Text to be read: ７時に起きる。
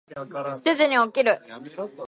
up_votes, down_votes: 0, 2